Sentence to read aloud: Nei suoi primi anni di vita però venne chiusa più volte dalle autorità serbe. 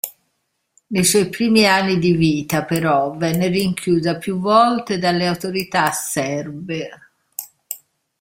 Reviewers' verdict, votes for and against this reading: rejected, 0, 2